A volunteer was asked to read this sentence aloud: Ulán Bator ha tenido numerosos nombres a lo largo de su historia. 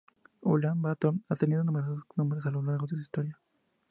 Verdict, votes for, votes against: accepted, 2, 0